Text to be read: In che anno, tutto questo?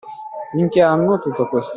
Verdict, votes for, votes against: rejected, 0, 2